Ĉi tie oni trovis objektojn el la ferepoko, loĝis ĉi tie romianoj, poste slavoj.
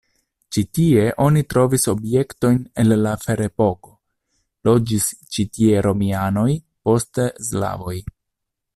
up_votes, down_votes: 1, 2